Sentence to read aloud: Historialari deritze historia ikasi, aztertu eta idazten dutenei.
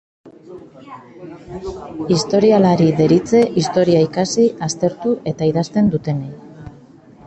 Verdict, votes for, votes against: accepted, 2, 1